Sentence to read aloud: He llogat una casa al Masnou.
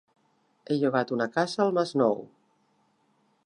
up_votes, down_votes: 2, 1